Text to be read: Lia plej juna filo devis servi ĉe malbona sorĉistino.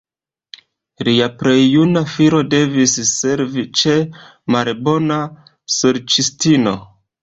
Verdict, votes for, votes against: accepted, 2, 0